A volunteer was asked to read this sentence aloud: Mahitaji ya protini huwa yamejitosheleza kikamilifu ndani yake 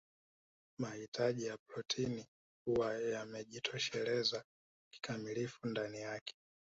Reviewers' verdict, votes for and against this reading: accepted, 3, 1